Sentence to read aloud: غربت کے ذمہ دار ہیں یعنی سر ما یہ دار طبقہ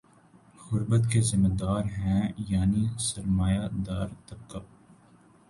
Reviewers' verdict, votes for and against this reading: accepted, 2, 0